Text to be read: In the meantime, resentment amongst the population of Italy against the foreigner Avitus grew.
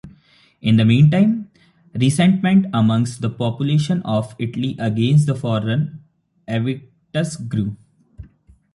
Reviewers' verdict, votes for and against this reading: accepted, 2, 1